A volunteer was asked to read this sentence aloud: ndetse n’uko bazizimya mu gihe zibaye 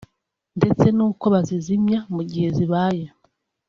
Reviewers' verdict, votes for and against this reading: accepted, 3, 0